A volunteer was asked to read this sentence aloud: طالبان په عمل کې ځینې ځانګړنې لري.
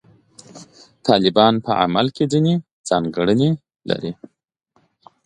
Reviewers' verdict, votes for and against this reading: accepted, 2, 0